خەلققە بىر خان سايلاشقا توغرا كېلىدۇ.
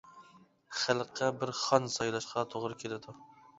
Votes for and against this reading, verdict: 2, 0, accepted